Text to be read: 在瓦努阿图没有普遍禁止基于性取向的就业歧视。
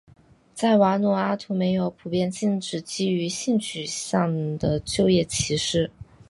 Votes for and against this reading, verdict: 5, 0, accepted